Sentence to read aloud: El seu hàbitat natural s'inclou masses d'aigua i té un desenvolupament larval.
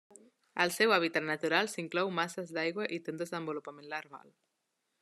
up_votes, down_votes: 2, 0